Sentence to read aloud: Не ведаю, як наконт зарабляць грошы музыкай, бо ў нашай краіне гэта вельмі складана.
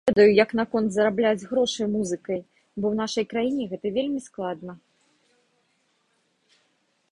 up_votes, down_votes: 1, 2